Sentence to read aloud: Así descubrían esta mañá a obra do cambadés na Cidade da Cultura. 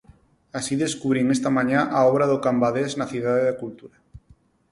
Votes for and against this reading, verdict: 0, 4, rejected